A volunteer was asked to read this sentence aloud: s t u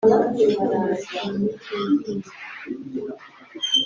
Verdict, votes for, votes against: rejected, 1, 2